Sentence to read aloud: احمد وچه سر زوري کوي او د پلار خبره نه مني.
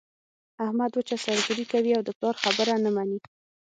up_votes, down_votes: 0, 6